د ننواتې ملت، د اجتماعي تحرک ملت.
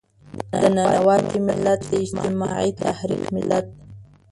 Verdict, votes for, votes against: rejected, 0, 2